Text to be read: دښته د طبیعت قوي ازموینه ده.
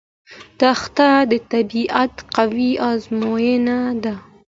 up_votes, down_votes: 2, 0